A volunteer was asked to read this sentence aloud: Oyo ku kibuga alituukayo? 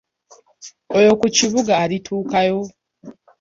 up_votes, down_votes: 0, 2